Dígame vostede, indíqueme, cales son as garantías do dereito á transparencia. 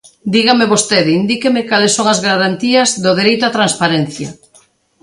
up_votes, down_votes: 2, 0